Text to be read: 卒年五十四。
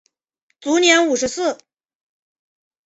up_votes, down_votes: 3, 0